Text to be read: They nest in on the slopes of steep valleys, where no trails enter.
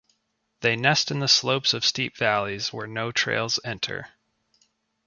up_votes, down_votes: 1, 2